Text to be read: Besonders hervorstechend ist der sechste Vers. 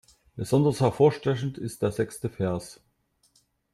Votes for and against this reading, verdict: 2, 0, accepted